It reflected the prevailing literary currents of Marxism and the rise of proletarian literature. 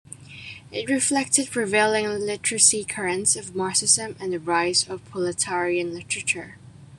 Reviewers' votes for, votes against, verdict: 1, 2, rejected